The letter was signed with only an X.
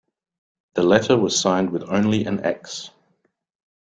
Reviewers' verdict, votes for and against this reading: accepted, 2, 0